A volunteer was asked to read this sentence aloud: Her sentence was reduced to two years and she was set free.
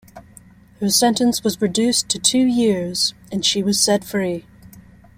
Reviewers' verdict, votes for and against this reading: accepted, 2, 0